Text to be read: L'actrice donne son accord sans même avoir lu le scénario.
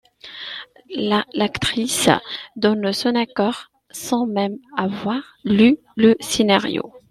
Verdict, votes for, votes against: rejected, 1, 2